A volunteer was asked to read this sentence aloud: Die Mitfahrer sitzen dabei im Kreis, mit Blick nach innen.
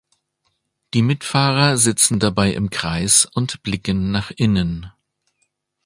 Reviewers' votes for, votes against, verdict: 0, 2, rejected